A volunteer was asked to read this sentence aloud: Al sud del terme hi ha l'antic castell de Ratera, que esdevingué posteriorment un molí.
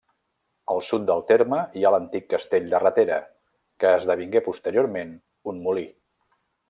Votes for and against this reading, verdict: 1, 2, rejected